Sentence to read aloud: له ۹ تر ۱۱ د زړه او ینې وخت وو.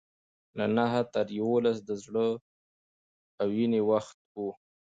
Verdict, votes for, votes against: rejected, 0, 2